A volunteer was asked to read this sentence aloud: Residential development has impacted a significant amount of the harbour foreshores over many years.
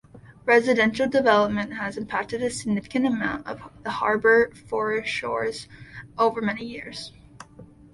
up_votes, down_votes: 2, 0